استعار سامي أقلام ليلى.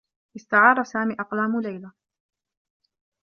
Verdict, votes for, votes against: accepted, 2, 1